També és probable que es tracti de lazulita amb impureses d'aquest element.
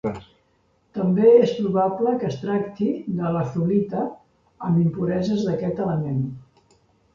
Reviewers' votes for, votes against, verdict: 1, 2, rejected